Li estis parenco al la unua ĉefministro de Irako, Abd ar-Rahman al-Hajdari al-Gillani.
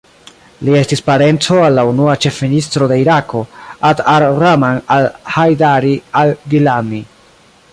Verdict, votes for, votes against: rejected, 1, 2